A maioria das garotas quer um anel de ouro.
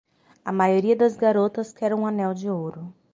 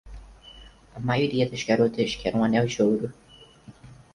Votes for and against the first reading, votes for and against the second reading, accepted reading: 6, 0, 2, 4, first